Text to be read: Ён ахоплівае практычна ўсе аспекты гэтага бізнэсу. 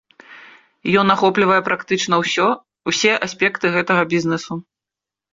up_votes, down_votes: 0, 2